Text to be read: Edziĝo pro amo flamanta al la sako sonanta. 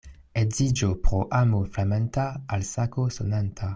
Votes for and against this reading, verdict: 2, 0, accepted